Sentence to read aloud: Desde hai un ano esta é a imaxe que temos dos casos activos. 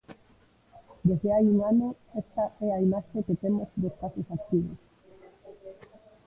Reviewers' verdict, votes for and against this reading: accepted, 2, 1